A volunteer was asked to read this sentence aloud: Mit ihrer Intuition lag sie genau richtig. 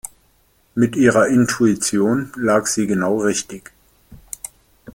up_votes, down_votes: 2, 0